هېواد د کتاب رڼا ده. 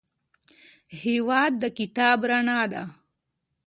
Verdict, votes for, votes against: accepted, 2, 0